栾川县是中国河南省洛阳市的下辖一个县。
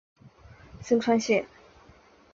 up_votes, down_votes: 1, 2